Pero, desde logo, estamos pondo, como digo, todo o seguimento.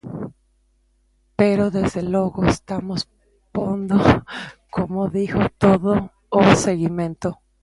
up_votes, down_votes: 0, 2